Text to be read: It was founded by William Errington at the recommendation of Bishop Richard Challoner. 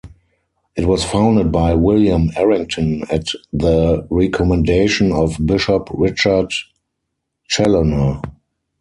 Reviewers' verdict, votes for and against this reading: accepted, 4, 0